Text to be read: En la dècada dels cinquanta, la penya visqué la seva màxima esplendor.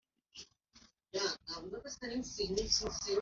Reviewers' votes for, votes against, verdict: 0, 2, rejected